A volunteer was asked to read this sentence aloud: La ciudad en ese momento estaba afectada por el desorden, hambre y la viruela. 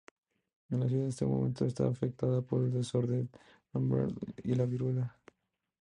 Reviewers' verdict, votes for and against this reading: rejected, 0, 2